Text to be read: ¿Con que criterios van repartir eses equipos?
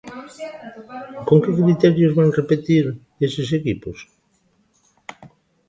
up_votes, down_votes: 0, 2